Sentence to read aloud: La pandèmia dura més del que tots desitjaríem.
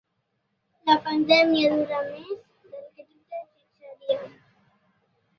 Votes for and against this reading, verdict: 0, 2, rejected